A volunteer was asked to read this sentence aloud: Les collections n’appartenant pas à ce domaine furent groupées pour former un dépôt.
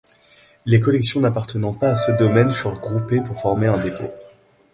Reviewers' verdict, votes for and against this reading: accepted, 2, 0